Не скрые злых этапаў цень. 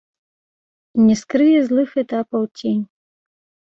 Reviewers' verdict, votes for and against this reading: accepted, 2, 0